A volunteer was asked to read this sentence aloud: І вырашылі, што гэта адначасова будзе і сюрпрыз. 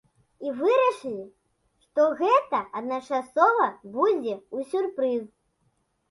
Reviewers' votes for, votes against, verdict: 0, 2, rejected